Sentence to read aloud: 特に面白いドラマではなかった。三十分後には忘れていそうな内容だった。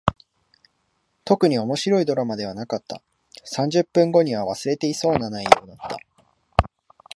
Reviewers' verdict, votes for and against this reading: rejected, 1, 2